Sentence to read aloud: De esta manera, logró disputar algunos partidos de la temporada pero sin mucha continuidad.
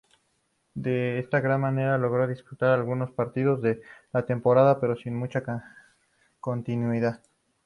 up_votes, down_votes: 0, 2